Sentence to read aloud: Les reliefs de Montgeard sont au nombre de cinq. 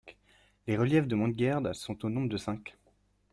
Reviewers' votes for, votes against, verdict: 1, 2, rejected